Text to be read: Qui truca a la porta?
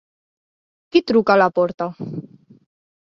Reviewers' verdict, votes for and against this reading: accepted, 3, 0